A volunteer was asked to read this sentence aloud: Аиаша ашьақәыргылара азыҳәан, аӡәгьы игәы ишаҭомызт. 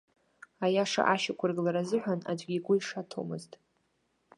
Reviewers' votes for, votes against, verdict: 2, 0, accepted